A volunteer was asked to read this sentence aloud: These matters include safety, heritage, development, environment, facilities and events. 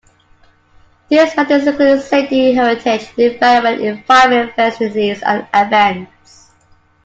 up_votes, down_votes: 0, 2